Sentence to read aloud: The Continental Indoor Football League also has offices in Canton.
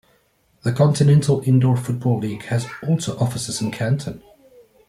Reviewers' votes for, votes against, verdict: 0, 2, rejected